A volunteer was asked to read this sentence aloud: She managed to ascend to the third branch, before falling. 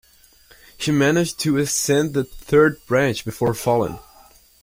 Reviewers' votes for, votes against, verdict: 0, 2, rejected